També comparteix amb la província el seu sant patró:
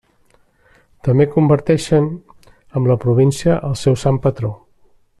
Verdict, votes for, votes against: rejected, 0, 2